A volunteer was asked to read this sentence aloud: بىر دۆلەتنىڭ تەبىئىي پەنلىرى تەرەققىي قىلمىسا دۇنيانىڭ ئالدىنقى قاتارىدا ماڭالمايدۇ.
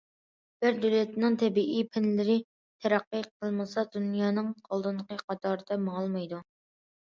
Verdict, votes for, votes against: accepted, 2, 0